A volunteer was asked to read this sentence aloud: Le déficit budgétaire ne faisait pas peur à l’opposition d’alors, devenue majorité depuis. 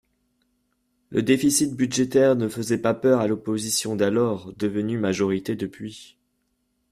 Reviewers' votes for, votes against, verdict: 3, 0, accepted